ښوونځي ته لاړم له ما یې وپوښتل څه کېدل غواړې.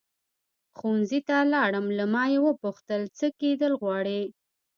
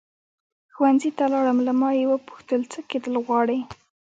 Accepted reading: first